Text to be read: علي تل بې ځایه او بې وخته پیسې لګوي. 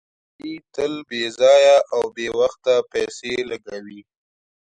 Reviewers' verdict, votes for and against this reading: accepted, 2, 0